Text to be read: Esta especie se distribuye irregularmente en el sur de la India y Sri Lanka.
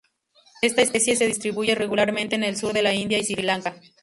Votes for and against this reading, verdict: 2, 0, accepted